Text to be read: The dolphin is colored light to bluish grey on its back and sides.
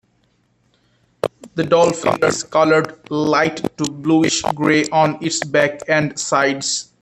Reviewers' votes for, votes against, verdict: 2, 3, rejected